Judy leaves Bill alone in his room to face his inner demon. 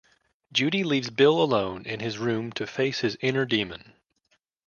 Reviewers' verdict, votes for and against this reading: accepted, 2, 0